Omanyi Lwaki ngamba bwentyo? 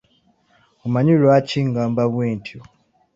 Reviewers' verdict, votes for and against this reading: accepted, 2, 0